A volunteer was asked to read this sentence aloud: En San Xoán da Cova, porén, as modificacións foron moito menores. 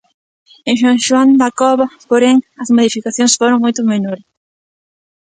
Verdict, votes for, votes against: rejected, 0, 2